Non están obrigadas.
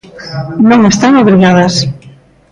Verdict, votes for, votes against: accepted, 2, 0